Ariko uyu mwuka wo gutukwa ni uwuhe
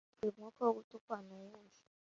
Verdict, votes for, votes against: rejected, 0, 2